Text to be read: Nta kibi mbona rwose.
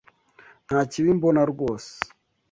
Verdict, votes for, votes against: accepted, 2, 0